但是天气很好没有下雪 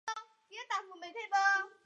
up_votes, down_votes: 1, 3